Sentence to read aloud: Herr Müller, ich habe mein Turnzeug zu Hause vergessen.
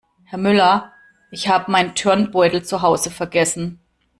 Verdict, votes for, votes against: rejected, 0, 2